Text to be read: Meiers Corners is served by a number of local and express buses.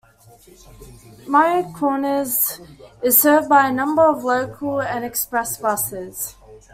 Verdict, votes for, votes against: accepted, 2, 0